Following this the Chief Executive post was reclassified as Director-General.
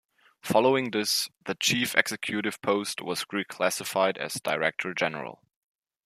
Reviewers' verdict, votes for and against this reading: rejected, 1, 2